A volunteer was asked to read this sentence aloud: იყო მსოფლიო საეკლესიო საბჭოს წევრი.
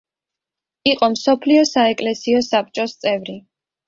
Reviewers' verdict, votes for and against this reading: accepted, 2, 0